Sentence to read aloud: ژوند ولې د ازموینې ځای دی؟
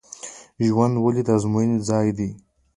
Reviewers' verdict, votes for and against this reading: accepted, 2, 0